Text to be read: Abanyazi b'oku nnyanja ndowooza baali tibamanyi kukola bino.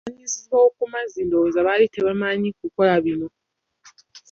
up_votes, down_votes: 1, 2